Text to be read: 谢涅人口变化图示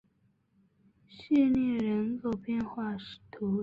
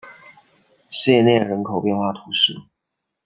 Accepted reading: second